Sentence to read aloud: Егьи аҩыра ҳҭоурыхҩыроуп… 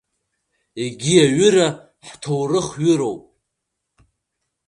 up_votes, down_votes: 2, 0